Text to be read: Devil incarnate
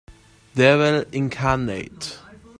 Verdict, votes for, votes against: accepted, 2, 1